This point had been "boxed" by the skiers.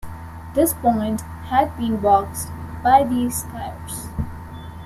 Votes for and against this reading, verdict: 0, 2, rejected